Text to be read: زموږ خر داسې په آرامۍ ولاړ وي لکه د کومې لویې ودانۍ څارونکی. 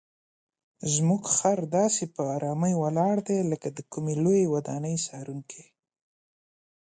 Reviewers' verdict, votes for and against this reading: rejected, 0, 2